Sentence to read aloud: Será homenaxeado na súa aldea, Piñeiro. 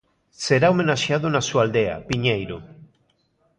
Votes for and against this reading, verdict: 2, 0, accepted